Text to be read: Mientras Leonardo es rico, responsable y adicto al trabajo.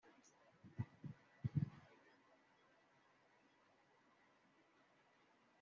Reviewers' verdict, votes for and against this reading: rejected, 1, 2